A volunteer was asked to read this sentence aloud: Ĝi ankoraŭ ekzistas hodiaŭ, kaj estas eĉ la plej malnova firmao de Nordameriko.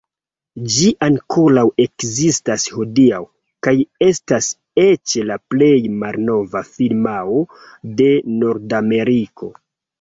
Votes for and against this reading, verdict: 1, 2, rejected